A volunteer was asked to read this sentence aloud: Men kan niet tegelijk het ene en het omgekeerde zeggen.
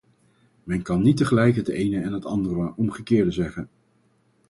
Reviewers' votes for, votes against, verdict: 2, 2, rejected